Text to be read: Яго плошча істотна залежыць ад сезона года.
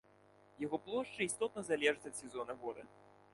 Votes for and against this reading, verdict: 1, 2, rejected